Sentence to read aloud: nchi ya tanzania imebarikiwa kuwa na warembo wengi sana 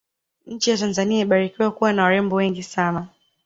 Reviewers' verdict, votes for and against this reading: accepted, 2, 0